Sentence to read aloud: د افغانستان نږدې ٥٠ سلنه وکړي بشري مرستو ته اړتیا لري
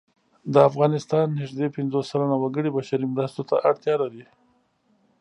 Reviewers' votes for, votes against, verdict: 0, 2, rejected